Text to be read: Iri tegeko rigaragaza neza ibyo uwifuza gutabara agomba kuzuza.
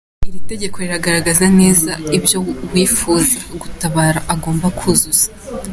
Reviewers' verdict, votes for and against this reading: accepted, 3, 0